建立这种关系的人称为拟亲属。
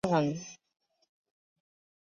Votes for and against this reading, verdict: 0, 2, rejected